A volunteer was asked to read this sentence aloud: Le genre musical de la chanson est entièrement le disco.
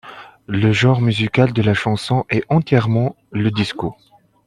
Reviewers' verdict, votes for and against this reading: accepted, 2, 0